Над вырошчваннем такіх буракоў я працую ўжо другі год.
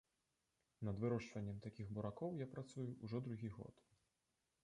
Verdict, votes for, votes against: rejected, 1, 2